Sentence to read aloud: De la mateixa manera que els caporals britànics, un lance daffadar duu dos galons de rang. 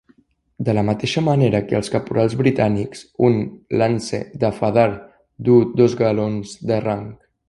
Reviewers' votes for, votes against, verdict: 0, 2, rejected